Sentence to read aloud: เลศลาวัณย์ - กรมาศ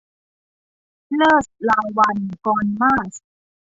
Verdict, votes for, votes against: rejected, 0, 2